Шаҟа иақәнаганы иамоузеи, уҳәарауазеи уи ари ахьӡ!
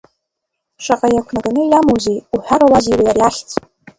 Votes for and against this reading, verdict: 2, 1, accepted